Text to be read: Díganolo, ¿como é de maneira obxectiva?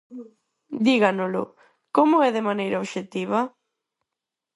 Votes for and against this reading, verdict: 4, 0, accepted